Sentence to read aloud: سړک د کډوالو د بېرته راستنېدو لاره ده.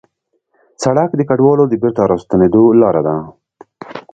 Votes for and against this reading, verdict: 2, 0, accepted